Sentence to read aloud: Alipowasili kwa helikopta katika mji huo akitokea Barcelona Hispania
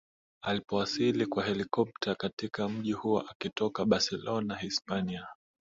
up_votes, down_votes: 1, 2